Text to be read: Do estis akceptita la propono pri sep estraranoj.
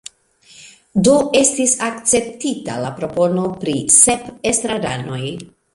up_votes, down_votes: 1, 2